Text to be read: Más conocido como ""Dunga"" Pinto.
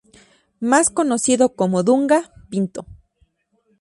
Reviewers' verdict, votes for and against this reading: accepted, 2, 0